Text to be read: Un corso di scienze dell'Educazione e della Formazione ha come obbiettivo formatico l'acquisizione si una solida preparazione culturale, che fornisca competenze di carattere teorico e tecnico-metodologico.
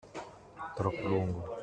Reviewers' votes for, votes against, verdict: 0, 2, rejected